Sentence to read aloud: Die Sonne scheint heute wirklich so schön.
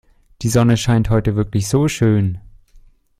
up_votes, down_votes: 2, 0